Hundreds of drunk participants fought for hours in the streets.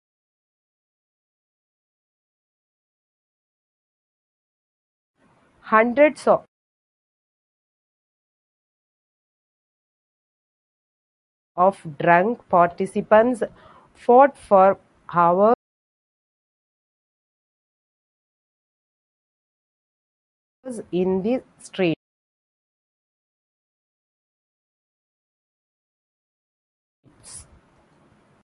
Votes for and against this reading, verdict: 0, 2, rejected